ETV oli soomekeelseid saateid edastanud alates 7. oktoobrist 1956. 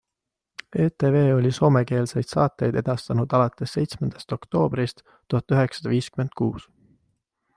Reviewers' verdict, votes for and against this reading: rejected, 0, 2